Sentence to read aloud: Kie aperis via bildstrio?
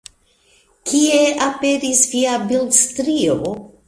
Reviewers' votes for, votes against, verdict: 2, 0, accepted